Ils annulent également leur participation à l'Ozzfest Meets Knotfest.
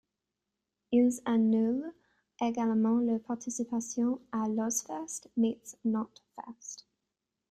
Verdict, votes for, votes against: accepted, 2, 1